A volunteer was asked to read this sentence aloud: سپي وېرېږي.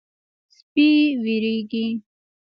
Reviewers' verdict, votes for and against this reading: rejected, 1, 2